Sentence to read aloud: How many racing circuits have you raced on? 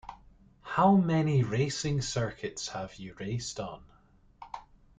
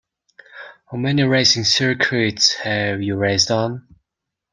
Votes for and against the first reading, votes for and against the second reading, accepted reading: 2, 0, 1, 2, first